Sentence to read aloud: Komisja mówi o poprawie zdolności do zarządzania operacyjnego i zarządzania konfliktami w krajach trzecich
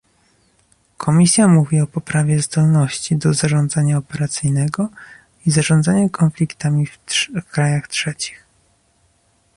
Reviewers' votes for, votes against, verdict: 0, 2, rejected